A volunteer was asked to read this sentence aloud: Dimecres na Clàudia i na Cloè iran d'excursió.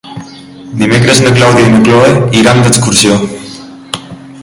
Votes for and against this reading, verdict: 3, 0, accepted